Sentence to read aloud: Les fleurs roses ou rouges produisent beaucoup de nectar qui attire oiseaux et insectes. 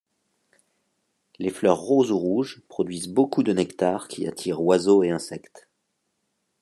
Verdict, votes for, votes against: accepted, 2, 0